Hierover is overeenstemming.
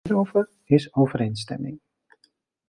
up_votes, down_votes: 0, 2